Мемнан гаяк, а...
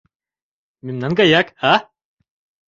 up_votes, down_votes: 2, 1